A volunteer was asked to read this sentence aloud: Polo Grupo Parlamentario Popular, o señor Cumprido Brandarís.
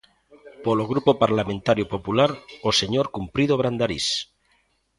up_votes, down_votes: 2, 0